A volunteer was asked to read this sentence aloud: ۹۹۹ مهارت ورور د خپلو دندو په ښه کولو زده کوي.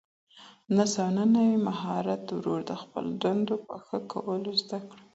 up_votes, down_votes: 0, 2